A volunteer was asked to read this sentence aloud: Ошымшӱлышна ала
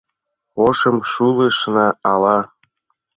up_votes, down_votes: 1, 2